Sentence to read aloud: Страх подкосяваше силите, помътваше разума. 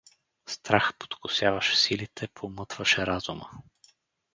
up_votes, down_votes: 4, 0